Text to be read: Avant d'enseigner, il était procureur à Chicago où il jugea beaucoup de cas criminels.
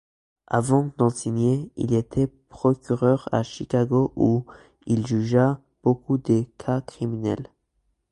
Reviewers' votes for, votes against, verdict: 2, 0, accepted